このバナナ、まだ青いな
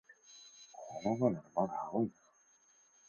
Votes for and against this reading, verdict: 0, 4, rejected